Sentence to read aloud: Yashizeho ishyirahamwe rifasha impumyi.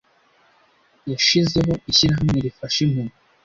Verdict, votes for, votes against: accepted, 2, 1